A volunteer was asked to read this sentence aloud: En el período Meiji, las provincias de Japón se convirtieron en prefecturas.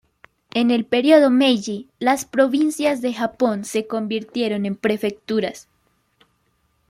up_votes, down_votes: 2, 0